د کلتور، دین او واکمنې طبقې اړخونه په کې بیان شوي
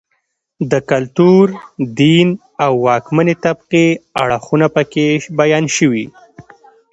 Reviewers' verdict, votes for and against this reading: accepted, 2, 0